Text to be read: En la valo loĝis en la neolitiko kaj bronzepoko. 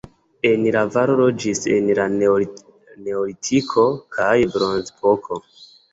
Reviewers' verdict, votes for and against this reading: accepted, 2, 0